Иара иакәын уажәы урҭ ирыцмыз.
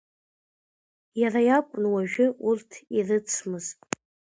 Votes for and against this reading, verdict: 2, 1, accepted